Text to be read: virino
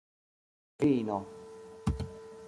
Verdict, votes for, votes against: rejected, 1, 2